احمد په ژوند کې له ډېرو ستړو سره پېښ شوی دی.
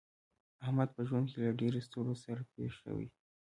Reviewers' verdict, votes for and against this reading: rejected, 0, 2